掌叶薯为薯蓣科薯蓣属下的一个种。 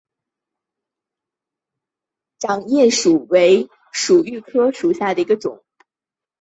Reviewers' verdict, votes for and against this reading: accepted, 2, 0